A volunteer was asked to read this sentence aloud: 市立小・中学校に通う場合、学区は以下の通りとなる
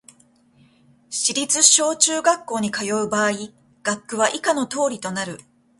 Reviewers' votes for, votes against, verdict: 1, 2, rejected